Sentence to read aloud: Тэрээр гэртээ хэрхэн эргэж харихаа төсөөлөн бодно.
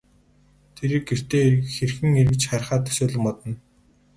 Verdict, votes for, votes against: rejected, 0, 2